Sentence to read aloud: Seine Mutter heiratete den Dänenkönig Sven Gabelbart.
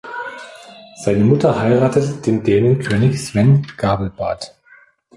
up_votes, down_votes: 2, 0